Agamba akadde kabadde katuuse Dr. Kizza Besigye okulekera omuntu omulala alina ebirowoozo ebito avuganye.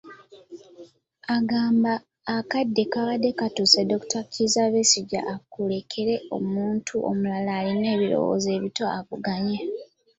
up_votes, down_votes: 0, 2